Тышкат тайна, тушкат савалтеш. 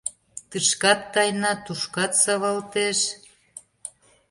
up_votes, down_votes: 2, 0